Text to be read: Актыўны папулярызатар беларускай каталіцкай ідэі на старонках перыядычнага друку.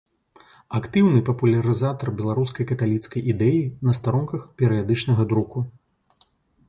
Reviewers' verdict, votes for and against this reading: accepted, 2, 0